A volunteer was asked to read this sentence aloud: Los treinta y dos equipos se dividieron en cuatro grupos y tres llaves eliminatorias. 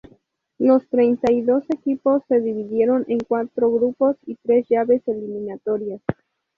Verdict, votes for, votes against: rejected, 0, 2